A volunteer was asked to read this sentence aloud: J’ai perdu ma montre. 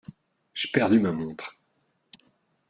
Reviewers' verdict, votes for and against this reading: accepted, 2, 0